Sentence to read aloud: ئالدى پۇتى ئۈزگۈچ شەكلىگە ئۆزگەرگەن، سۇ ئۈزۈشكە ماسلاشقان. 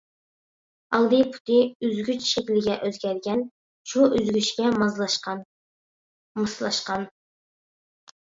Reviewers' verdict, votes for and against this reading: rejected, 0, 2